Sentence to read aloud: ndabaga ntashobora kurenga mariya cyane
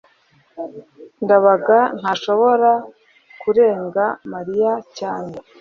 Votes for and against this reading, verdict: 2, 0, accepted